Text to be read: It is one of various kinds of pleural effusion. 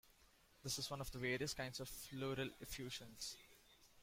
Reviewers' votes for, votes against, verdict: 0, 2, rejected